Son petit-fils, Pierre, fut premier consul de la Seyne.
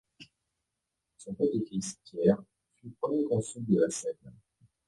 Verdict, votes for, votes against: rejected, 0, 2